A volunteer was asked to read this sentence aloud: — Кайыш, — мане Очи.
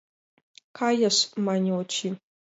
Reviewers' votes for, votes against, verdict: 2, 0, accepted